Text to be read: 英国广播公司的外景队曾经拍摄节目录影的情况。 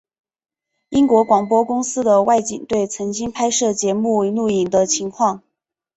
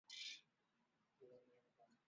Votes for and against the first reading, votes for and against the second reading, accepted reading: 2, 0, 0, 2, first